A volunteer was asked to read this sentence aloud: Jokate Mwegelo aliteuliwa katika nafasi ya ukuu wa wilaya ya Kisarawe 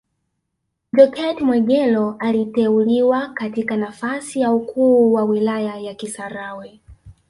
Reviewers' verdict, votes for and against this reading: accepted, 2, 0